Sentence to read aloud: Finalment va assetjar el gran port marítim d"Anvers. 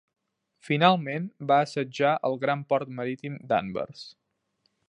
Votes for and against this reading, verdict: 3, 0, accepted